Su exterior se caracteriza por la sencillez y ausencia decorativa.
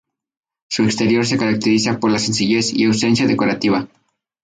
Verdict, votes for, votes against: accepted, 2, 0